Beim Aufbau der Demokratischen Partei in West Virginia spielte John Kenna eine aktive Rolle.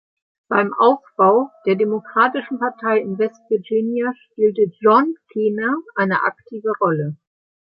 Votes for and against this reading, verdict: 1, 2, rejected